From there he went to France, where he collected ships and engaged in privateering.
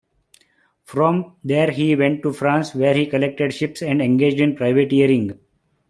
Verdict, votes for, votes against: accepted, 2, 1